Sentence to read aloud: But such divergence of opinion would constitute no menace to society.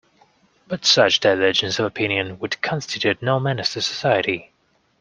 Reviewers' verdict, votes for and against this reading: accepted, 2, 1